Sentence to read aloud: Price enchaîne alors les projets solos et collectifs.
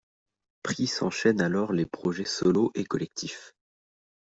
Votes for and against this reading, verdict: 2, 0, accepted